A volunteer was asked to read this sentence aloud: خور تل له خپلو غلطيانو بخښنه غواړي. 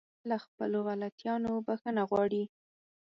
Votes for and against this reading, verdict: 0, 4, rejected